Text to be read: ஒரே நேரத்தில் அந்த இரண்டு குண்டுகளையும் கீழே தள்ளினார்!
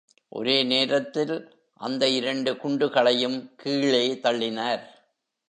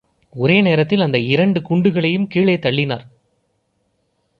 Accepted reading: second